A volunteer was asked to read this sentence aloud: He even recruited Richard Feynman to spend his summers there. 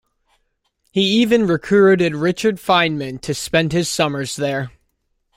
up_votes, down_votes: 2, 0